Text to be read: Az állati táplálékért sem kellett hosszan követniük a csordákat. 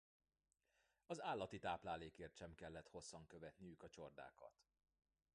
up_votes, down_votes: 2, 0